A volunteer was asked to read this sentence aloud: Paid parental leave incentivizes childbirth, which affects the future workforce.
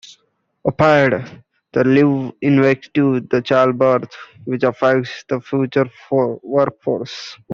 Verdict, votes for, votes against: rejected, 0, 3